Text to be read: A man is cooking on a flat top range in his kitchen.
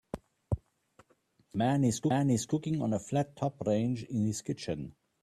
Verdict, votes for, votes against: rejected, 1, 2